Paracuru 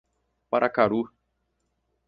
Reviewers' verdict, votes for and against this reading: rejected, 0, 4